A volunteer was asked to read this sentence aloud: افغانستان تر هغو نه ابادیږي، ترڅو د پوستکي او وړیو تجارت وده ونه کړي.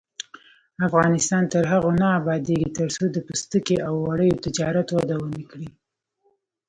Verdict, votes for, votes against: rejected, 1, 2